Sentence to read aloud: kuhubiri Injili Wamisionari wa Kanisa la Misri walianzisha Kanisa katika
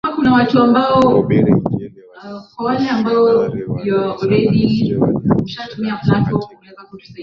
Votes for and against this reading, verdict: 2, 3, rejected